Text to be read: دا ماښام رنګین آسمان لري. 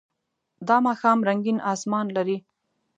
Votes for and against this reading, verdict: 2, 0, accepted